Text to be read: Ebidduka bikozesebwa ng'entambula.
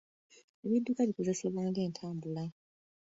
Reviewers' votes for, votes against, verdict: 1, 2, rejected